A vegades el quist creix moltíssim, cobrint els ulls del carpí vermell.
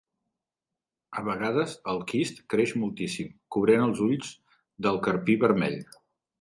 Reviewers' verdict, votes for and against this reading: accepted, 3, 0